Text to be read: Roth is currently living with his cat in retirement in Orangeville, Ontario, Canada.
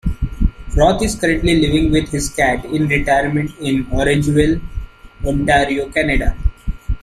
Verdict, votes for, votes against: accepted, 2, 1